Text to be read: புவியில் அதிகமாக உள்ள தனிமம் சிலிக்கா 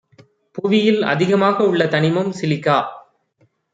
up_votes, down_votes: 2, 0